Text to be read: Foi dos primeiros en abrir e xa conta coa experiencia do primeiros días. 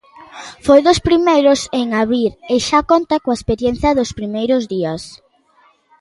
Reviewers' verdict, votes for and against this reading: accepted, 2, 0